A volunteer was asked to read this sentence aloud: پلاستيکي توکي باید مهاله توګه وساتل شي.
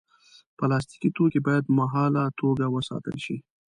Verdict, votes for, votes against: accepted, 2, 0